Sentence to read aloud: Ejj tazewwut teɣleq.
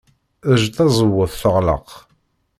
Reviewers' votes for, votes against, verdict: 1, 2, rejected